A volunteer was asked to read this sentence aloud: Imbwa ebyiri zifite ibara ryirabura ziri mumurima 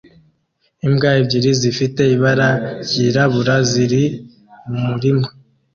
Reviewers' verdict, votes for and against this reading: accepted, 2, 0